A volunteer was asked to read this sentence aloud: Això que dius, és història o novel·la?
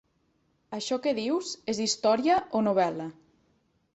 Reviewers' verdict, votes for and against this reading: accepted, 5, 0